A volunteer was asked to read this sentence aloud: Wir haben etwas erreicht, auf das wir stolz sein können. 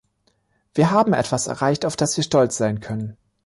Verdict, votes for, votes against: accepted, 2, 0